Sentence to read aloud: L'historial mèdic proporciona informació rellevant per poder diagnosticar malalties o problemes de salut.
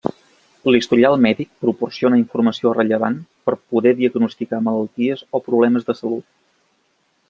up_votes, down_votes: 3, 0